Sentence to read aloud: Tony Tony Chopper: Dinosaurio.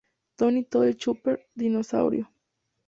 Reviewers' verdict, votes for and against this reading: rejected, 2, 2